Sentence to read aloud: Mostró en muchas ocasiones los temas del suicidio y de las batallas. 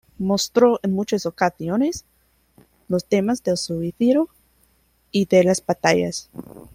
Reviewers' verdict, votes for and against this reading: rejected, 1, 2